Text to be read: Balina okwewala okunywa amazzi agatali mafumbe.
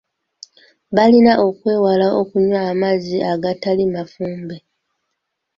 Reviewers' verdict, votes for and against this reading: accepted, 2, 1